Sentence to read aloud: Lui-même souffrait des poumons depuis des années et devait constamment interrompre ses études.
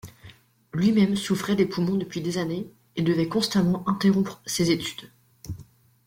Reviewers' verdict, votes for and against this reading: accepted, 2, 0